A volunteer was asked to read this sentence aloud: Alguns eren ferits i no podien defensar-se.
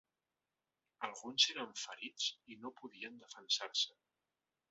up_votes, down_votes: 0, 2